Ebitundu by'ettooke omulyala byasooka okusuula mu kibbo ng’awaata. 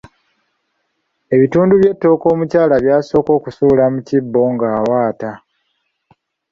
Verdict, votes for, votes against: accepted, 2, 0